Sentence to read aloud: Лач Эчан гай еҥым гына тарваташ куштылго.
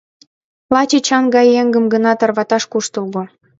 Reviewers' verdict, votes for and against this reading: accepted, 2, 1